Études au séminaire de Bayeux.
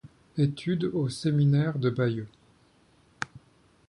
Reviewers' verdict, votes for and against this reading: accepted, 2, 0